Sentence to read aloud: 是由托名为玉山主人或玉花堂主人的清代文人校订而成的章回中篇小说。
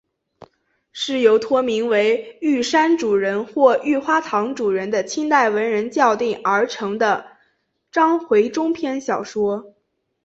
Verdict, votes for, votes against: accepted, 2, 0